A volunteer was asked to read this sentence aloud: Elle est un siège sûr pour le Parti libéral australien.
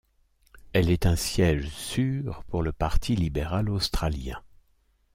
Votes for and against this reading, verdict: 2, 0, accepted